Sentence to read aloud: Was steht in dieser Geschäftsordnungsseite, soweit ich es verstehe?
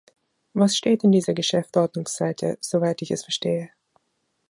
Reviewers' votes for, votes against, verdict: 0, 2, rejected